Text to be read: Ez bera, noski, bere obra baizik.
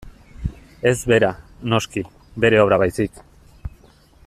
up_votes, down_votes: 2, 0